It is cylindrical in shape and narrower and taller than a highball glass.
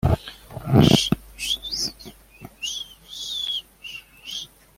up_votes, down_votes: 0, 2